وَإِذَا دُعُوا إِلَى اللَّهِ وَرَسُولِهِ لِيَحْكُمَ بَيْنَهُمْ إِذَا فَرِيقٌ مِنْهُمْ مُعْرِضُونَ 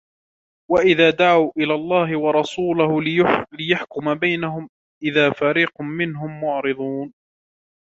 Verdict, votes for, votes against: rejected, 0, 2